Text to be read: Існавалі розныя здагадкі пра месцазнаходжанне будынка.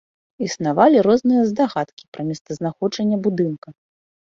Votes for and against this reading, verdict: 2, 0, accepted